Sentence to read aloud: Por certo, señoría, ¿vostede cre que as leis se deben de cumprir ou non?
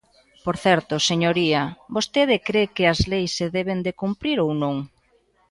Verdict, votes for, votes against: accepted, 2, 0